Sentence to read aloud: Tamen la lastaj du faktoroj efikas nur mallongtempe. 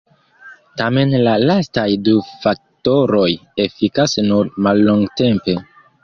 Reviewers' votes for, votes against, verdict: 2, 0, accepted